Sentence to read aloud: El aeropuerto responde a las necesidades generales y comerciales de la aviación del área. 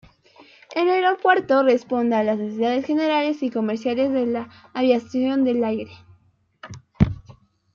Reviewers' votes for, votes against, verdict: 0, 2, rejected